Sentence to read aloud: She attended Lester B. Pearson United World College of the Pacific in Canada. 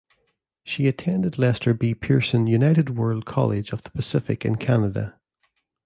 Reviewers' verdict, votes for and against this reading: accepted, 2, 0